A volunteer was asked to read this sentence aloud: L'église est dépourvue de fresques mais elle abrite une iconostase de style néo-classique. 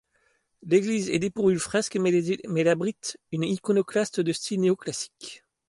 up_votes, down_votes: 2, 1